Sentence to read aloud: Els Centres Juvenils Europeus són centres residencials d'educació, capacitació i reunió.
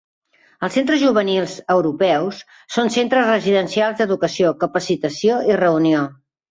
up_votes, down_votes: 2, 0